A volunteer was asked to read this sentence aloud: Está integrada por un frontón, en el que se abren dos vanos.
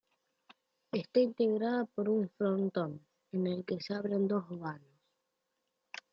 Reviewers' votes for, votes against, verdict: 2, 1, accepted